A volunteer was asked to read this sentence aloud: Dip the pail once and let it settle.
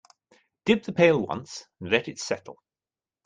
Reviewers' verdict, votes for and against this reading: accepted, 2, 0